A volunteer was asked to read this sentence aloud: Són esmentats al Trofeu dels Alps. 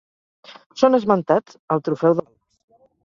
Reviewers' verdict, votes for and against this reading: rejected, 0, 4